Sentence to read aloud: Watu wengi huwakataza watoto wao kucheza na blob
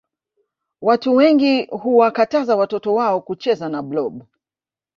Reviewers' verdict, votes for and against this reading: rejected, 0, 2